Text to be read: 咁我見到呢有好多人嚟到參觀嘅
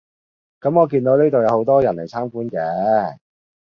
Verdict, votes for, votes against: rejected, 0, 2